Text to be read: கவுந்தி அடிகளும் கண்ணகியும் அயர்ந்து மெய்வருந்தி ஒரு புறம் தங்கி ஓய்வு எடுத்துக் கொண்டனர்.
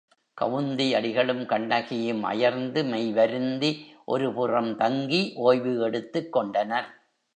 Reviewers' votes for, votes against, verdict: 3, 0, accepted